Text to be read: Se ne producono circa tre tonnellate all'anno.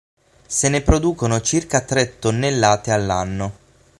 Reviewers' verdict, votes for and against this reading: accepted, 6, 0